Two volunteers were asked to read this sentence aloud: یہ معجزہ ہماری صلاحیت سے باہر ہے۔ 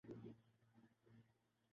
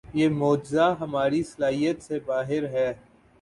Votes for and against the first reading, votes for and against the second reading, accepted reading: 0, 2, 3, 0, second